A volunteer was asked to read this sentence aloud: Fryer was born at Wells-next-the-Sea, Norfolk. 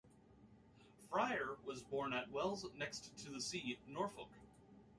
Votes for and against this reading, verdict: 1, 2, rejected